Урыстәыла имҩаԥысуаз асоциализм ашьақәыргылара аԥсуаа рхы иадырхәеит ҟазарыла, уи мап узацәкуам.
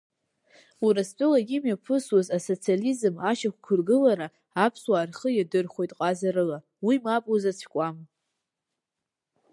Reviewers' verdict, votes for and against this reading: rejected, 1, 2